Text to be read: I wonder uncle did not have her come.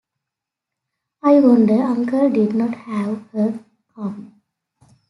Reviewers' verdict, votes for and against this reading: accepted, 3, 0